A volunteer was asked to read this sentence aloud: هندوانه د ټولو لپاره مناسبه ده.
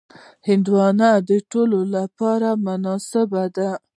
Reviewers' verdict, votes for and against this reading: accepted, 2, 0